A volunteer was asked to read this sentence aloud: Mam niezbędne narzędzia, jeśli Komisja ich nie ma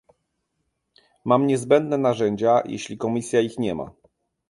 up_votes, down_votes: 2, 0